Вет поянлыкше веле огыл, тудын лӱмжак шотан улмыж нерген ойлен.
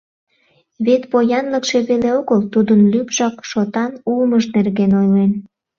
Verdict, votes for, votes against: accepted, 2, 0